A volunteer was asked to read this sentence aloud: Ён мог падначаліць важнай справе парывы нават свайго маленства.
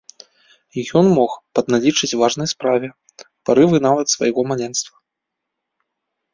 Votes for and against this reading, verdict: 1, 2, rejected